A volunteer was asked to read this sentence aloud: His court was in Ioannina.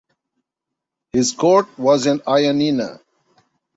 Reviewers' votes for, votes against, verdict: 2, 0, accepted